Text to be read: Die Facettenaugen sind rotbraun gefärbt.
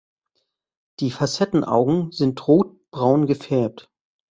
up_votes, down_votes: 2, 0